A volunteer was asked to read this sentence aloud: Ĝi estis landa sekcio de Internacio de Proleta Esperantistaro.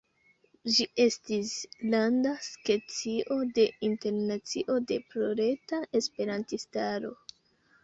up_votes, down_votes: 1, 2